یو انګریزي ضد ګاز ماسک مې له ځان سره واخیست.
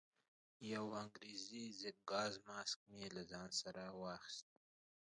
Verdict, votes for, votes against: rejected, 0, 2